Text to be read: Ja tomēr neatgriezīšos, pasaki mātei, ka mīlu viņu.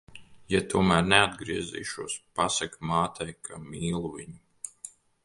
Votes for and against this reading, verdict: 2, 0, accepted